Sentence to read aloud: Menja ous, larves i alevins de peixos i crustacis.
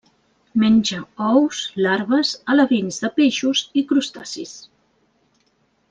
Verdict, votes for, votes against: rejected, 0, 2